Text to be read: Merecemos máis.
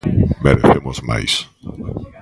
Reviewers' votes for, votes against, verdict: 0, 2, rejected